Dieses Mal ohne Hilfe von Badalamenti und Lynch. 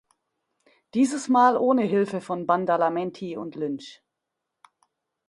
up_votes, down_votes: 1, 2